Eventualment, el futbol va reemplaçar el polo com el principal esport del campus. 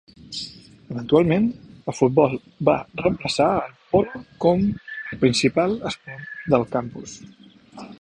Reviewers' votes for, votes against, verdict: 1, 2, rejected